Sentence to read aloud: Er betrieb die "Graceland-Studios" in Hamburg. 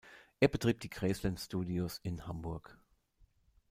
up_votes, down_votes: 0, 2